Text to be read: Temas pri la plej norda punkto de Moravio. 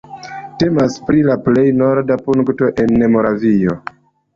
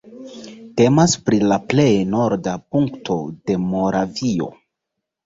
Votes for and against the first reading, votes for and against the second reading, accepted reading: 0, 2, 2, 0, second